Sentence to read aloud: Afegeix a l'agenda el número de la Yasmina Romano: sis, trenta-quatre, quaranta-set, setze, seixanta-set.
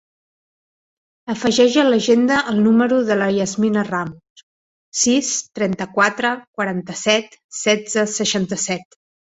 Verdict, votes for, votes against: rejected, 0, 2